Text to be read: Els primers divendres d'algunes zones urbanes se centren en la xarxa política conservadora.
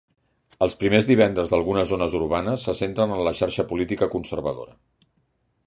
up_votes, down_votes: 3, 0